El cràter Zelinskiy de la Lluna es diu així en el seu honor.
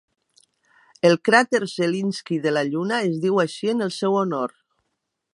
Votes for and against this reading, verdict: 2, 0, accepted